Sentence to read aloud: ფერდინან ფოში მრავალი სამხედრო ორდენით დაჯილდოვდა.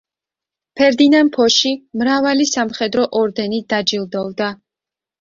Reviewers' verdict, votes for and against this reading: accepted, 2, 0